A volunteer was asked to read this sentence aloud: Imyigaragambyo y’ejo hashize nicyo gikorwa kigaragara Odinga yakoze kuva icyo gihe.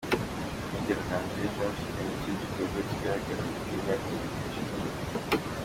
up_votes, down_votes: 0, 2